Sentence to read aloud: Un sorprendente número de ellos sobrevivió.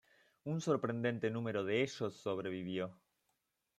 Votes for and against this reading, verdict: 0, 2, rejected